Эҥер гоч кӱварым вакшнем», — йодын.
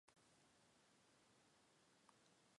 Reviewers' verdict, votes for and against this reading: rejected, 0, 2